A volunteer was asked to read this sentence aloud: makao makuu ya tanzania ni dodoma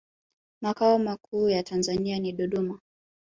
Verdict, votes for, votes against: accepted, 3, 0